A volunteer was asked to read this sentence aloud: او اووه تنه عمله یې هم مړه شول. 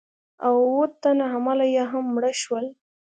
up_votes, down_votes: 2, 0